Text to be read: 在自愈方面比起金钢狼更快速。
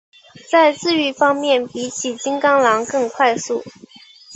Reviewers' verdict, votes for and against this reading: accepted, 3, 0